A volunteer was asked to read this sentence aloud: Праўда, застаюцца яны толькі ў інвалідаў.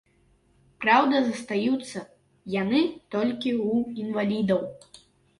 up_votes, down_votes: 3, 0